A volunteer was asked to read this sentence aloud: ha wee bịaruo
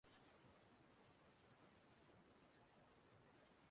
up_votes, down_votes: 0, 2